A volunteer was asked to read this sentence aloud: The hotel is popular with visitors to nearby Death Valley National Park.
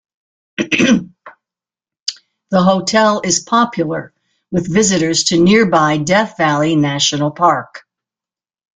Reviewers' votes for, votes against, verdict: 2, 0, accepted